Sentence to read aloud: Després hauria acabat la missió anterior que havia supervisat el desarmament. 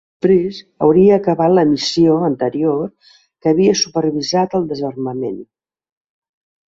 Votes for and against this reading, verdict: 1, 2, rejected